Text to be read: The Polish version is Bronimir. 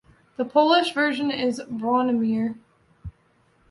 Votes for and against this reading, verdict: 2, 0, accepted